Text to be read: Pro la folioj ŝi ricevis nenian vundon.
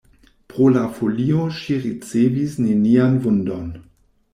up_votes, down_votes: 0, 2